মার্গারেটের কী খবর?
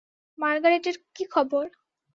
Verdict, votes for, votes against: accepted, 2, 0